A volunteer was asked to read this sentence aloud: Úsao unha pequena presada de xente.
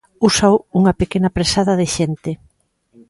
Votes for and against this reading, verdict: 2, 0, accepted